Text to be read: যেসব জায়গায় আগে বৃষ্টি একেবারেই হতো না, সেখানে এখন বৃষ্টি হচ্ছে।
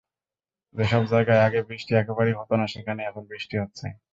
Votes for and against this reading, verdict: 2, 0, accepted